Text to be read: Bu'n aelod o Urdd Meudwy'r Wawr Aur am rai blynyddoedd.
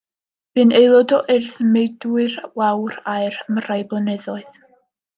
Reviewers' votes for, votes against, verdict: 2, 0, accepted